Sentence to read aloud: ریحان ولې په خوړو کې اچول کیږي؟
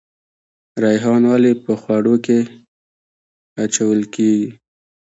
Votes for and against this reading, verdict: 2, 1, accepted